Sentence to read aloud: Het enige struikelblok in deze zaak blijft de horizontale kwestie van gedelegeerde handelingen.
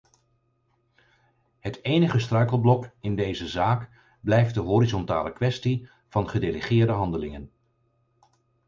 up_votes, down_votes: 4, 0